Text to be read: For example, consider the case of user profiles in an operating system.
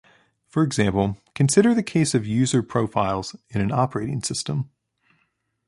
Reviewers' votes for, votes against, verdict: 2, 0, accepted